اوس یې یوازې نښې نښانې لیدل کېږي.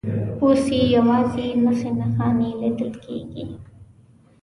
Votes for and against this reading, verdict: 2, 0, accepted